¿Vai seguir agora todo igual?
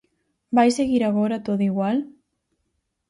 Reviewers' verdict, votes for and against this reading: accepted, 4, 0